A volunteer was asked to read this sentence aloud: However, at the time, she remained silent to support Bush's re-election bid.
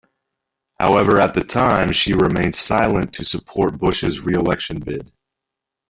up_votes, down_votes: 1, 2